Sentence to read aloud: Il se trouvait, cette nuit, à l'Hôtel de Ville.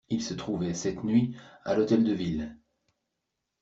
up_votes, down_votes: 1, 2